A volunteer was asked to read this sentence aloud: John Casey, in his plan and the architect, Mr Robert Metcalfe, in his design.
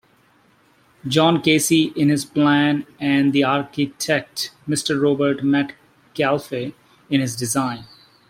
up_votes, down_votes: 1, 2